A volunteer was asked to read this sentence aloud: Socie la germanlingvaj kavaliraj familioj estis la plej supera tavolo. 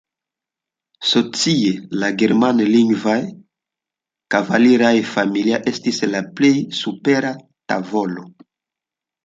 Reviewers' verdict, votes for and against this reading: accepted, 2, 1